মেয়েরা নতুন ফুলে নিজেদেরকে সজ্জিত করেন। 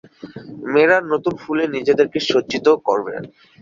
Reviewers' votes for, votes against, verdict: 5, 9, rejected